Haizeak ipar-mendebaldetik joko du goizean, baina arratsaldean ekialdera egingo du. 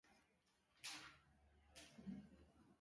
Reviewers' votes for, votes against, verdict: 0, 3, rejected